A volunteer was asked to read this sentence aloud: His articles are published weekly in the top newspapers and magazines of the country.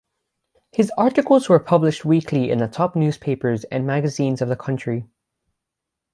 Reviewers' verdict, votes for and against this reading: rejected, 0, 6